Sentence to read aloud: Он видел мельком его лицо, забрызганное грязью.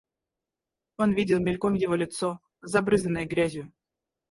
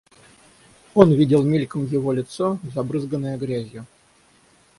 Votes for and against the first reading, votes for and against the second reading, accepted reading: 2, 2, 6, 0, second